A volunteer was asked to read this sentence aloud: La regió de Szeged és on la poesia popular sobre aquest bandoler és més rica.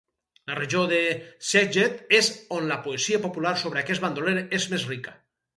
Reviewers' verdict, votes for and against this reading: rejected, 0, 2